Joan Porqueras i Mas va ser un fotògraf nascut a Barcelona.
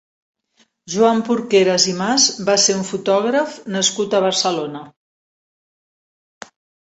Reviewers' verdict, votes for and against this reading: accepted, 2, 0